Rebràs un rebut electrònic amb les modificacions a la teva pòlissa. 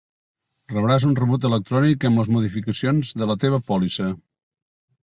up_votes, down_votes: 1, 2